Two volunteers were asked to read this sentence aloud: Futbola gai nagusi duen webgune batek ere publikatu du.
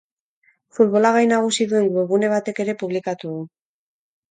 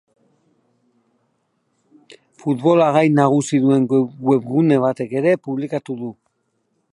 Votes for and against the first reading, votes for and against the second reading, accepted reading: 4, 0, 0, 4, first